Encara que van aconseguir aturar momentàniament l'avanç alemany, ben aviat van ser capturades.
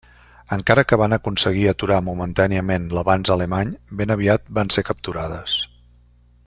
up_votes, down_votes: 3, 1